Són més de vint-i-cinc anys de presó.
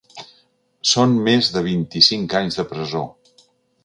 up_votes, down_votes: 4, 0